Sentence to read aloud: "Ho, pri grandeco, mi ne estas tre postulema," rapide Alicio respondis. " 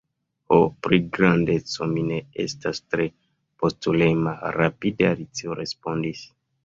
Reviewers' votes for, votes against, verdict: 1, 2, rejected